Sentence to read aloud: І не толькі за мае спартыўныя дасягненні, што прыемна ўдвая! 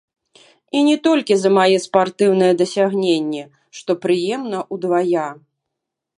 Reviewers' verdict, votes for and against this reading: rejected, 1, 2